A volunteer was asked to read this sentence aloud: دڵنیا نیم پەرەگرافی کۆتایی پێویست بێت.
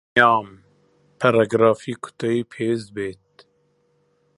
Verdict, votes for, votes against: rejected, 0, 2